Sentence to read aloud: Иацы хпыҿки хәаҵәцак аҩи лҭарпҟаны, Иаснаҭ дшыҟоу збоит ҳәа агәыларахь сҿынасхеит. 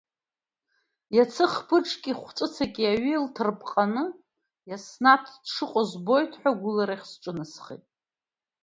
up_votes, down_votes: 1, 2